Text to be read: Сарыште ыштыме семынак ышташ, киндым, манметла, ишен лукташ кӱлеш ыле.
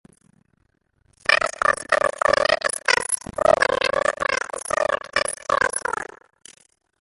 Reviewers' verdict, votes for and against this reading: rejected, 0, 2